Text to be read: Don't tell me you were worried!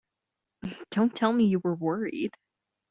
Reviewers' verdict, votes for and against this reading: accepted, 2, 1